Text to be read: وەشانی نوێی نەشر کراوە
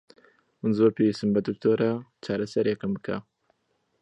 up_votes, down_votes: 0, 2